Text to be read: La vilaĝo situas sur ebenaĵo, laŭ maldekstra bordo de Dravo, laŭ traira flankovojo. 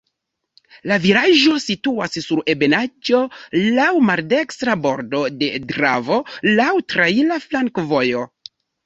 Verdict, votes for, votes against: rejected, 0, 2